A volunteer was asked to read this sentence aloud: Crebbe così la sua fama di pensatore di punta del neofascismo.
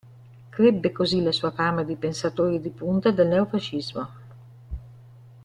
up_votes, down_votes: 2, 0